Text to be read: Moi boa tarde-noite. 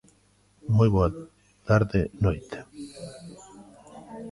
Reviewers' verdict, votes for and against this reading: rejected, 1, 2